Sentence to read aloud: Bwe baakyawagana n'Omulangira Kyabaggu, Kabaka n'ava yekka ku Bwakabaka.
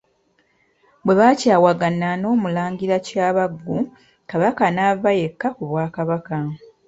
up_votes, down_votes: 2, 0